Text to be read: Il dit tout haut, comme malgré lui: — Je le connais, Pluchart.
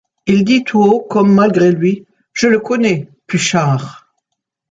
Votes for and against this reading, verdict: 2, 0, accepted